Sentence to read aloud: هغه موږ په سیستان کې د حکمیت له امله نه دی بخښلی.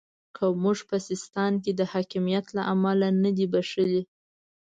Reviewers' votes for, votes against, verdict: 1, 2, rejected